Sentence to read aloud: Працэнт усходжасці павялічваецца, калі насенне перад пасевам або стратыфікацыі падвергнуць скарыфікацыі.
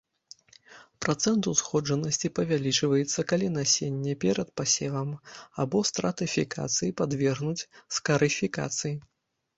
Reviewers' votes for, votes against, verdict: 0, 2, rejected